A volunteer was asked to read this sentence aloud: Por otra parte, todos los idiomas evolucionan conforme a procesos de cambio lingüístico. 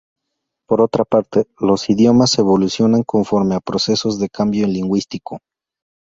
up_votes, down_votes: 0, 2